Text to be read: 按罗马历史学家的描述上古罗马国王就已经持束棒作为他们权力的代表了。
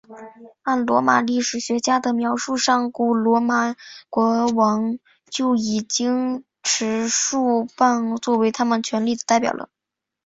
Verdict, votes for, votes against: accepted, 2, 0